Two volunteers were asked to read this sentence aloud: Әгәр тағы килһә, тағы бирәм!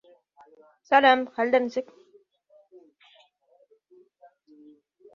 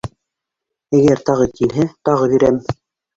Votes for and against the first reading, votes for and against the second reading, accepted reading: 0, 2, 2, 0, second